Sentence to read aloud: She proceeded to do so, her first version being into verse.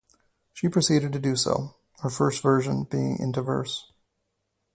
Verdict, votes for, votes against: rejected, 2, 4